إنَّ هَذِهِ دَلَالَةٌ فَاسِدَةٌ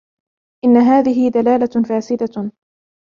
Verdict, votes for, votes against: accepted, 2, 0